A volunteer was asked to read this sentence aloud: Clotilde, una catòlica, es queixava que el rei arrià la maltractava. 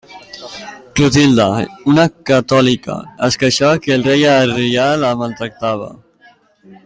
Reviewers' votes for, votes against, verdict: 2, 0, accepted